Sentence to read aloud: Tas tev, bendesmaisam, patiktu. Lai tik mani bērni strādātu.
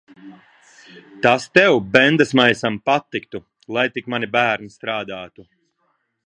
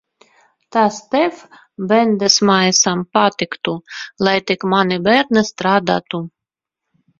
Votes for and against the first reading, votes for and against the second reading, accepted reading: 2, 0, 2, 3, first